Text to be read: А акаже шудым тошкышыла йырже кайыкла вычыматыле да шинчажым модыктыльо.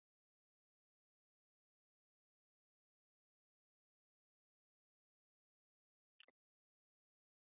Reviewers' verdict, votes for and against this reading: rejected, 0, 2